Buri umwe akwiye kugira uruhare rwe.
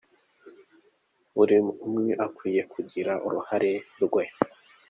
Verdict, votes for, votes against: accepted, 2, 0